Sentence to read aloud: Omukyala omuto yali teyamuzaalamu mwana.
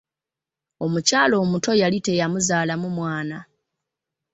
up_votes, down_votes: 0, 2